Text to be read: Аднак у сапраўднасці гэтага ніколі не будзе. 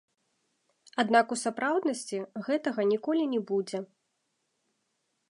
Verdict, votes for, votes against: rejected, 0, 3